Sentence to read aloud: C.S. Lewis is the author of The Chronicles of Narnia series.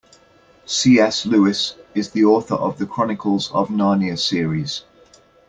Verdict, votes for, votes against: accepted, 2, 0